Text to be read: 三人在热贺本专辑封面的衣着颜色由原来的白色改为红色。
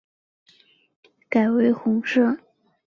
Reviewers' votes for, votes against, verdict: 0, 2, rejected